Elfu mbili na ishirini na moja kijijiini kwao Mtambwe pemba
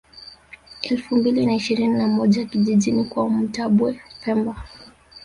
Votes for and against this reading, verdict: 0, 2, rejected